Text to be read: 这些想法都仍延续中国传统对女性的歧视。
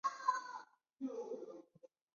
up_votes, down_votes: 0, 2